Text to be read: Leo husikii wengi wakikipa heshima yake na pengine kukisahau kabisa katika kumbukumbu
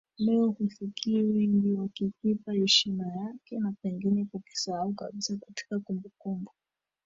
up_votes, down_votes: 0, 2